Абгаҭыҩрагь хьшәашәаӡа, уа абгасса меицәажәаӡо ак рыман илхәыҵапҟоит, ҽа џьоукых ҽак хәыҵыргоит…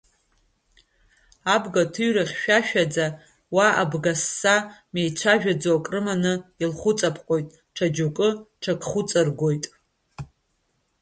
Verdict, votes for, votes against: rejected, 1, 2